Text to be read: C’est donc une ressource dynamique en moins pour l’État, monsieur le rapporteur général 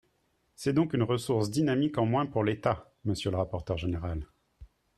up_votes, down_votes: 3, 0